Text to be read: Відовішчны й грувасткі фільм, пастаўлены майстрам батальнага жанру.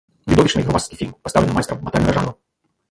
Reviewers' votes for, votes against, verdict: 2, 0, accepted